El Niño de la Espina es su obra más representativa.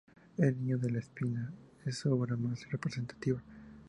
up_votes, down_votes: 2, 2